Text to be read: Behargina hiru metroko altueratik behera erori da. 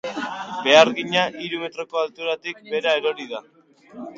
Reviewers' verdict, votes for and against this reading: rejected, 0, 4